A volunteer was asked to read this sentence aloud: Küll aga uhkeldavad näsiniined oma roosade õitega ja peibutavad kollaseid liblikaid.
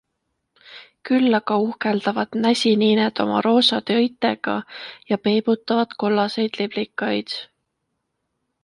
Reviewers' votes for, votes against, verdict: 2, 0, accepted